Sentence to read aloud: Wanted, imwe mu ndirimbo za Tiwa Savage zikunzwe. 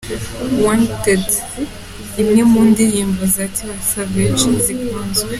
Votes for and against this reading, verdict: 2, 0, accepted